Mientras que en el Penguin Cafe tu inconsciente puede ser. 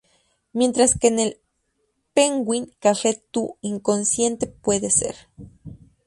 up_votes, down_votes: 2, 0